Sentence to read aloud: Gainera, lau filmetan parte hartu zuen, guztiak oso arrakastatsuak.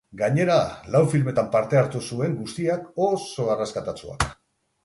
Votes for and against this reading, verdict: 0, 4, rejected